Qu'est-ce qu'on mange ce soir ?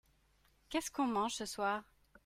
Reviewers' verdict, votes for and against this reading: accepted, 2, 0